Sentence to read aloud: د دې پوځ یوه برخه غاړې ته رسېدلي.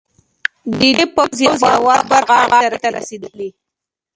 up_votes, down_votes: 1, 2